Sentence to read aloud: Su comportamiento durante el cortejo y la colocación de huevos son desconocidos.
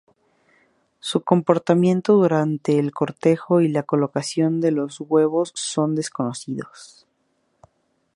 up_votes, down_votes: 2, 0